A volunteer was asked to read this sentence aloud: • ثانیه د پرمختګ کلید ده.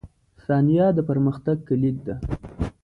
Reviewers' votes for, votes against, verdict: 3, 0, accepted